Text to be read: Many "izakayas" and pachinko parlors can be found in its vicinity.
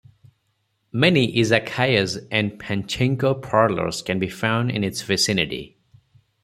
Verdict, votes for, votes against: accepted, 4, 0